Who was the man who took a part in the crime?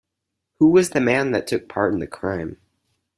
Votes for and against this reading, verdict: 2, 4, rejected